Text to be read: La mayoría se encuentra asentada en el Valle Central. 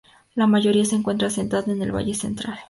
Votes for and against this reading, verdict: 2, 0, accepted